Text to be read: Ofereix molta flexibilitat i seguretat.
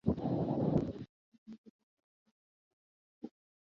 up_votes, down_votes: 0, 3